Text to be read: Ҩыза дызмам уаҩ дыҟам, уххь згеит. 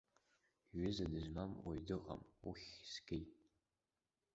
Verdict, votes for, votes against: rejected, 0, 2